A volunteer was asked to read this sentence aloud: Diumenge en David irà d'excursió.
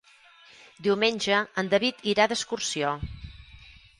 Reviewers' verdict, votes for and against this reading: rejected, 0, 4